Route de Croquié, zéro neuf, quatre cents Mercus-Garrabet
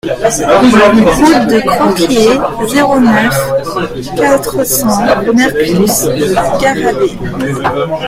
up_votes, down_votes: 0, 2